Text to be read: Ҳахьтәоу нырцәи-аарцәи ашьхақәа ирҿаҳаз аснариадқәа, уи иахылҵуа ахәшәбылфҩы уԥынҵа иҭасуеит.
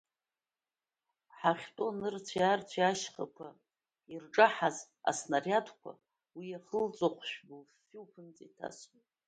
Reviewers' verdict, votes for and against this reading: rejected, 0, 2